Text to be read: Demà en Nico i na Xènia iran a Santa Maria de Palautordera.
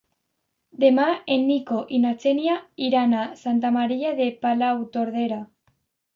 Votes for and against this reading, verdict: 2, 0, accepted